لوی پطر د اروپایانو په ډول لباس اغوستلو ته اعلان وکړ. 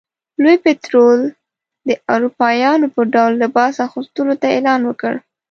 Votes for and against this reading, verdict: 1, 2, rejected